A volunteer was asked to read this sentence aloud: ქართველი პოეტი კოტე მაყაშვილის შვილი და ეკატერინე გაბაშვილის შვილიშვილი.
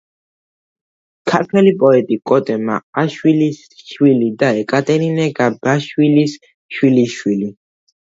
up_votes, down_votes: 1, 2